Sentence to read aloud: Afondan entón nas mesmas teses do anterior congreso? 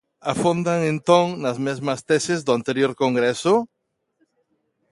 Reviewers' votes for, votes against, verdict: 2, 0, accepted